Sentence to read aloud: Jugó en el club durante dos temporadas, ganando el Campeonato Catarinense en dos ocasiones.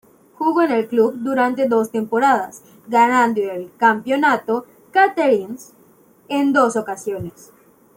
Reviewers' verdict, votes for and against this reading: accepted, 2, 0